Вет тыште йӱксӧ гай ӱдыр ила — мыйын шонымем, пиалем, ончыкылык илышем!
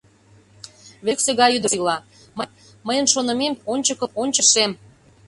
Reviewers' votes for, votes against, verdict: 0, 2, rejected